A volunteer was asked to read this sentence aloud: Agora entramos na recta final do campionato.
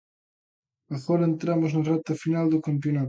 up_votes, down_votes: 1, 2